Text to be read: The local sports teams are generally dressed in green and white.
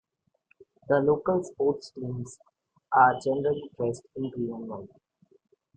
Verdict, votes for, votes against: accepted, 2, 0